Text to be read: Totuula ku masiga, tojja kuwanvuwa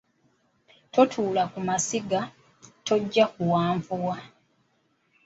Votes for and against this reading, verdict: 2, 1, accepted